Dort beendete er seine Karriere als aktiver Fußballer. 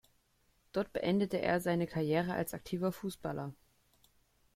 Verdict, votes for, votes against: rejected, 0, 2